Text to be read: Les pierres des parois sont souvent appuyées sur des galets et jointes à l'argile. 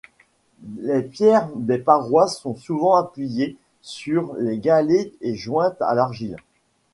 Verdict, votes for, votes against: rejected, 1, 2